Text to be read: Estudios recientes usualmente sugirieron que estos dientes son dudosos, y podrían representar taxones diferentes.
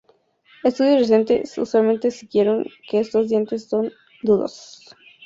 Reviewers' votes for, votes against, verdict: 0, 2, rejected